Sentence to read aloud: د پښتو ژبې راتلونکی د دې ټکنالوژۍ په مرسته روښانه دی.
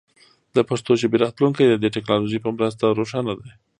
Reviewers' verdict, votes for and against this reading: accepted, 3, 0